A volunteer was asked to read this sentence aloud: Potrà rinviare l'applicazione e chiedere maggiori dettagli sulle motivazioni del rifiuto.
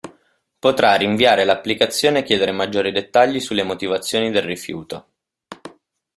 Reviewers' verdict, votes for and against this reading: accepted, 2, 0